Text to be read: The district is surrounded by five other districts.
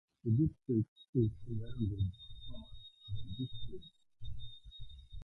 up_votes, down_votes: 1, 2